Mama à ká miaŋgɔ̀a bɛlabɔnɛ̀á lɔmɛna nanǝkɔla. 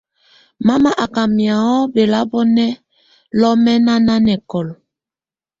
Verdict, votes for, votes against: accepted, 2, 0